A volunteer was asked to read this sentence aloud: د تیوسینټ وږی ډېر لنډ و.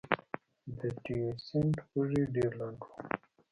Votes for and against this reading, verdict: 0, 2, rejected